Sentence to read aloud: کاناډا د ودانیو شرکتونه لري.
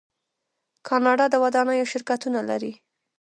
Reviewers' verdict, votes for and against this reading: rejected, 0, 2